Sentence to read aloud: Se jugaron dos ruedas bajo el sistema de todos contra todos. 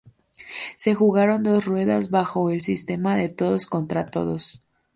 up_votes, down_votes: 2, 0